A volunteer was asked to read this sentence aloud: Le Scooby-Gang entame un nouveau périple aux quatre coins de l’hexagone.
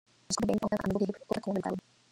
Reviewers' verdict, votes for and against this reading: rejected, 0, 2